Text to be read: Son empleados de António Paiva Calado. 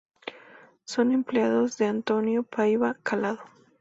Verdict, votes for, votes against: accepted, 2, 0